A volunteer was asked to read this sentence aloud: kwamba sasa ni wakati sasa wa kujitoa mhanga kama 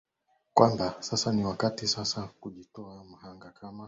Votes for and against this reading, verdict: 2, 0, accepted